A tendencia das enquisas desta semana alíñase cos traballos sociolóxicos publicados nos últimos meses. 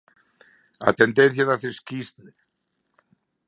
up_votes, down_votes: 0, 2